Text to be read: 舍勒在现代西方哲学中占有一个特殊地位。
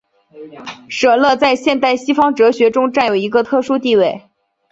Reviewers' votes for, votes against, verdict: 2, 1, accepted